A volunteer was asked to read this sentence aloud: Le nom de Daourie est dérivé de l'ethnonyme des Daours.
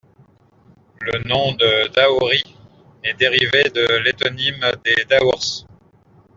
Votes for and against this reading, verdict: 1, 2, rejected